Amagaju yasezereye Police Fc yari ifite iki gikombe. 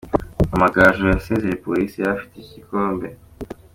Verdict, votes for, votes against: accepted, 2, 1